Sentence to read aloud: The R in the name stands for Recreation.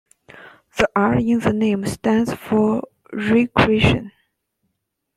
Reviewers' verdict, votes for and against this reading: rejected, 1, 2